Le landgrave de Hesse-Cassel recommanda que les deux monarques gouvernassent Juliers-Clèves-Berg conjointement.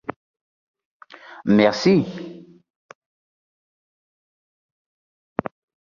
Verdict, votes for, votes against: rejected, 0, 2